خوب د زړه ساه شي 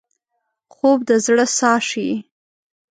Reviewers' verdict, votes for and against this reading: accepted, 2, 0